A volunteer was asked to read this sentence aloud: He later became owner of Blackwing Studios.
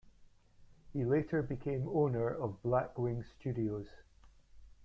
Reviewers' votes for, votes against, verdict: 0, 2, rejected